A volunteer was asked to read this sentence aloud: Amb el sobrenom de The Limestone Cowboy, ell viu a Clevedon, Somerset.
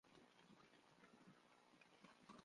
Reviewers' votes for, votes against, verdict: 0, 2, rejected